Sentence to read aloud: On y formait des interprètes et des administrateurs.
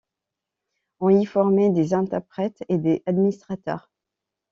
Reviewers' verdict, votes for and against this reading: rejected, 0, 2